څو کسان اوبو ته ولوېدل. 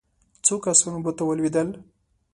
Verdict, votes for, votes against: accepted, 3, 1